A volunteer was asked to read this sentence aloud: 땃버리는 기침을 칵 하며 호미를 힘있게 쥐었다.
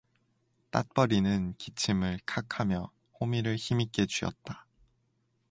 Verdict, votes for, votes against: accepted, 4, 0